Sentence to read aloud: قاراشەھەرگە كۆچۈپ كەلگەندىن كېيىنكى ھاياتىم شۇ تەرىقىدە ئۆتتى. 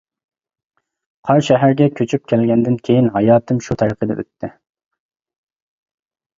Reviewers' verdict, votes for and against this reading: rejected, 1, 2